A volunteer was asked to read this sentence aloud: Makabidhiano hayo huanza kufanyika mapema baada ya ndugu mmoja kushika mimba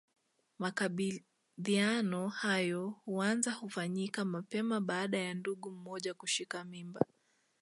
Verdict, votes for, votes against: accepted, 2, 0